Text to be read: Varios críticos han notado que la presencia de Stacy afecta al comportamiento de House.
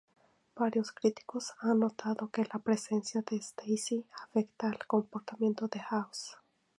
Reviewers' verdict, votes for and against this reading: rejected, 2, 2